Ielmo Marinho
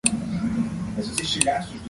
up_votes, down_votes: 0, 2